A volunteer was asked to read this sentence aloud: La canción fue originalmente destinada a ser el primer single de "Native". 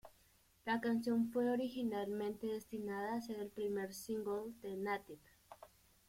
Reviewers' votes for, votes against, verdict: 0, 2, rejected